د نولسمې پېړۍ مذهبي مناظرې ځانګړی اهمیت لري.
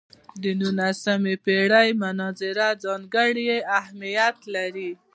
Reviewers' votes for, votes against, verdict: 1, 2, rejected